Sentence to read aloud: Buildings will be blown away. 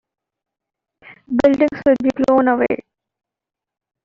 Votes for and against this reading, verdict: 2, 0, accepted